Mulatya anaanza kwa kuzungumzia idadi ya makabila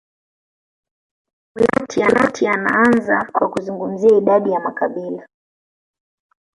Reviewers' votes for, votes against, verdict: 0, 2, rejected